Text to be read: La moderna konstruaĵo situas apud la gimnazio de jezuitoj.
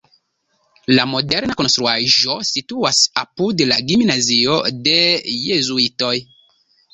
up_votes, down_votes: 1, 2